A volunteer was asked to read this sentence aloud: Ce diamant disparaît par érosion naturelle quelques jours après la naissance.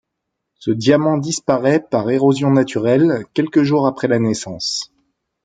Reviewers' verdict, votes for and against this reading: accepted, 2, 0